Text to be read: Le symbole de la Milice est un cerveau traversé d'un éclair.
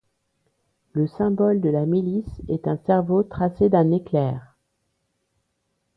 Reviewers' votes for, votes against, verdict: 1, 2, rejected